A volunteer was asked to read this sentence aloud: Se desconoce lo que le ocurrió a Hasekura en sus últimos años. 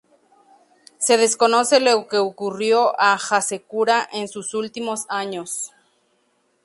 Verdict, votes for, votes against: rejected, 0, 2